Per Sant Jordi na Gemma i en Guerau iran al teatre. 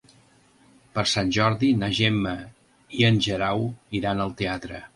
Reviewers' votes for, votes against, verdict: 1, 2, rejected